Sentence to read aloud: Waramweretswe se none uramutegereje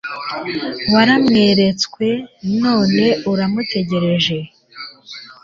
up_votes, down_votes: 1, 2